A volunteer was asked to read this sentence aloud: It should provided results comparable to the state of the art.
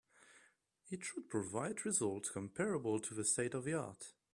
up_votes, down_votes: 2, 0